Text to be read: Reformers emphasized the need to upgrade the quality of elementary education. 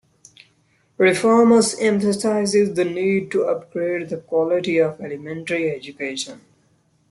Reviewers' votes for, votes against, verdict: 1, 2, rejected